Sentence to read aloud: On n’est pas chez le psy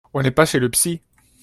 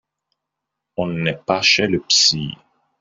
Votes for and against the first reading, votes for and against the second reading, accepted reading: 2, 0, 1, 2, first